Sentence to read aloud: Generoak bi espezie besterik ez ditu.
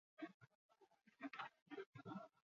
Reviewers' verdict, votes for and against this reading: rejected, 0, 6